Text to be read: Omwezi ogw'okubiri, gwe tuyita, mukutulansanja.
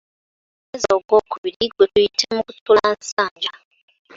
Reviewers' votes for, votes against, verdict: 2, 0, accepted